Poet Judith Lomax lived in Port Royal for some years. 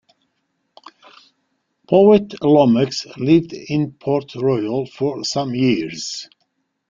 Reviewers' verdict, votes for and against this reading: rejected, 0, 2